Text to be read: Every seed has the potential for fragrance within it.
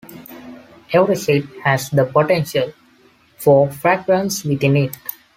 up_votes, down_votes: 2, 0